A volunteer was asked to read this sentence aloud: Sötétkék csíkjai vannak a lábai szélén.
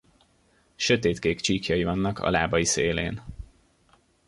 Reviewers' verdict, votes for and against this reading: accepted, 2, 0